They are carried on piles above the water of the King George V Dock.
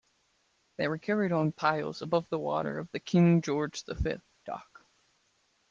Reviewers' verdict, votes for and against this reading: accepted, 2, 0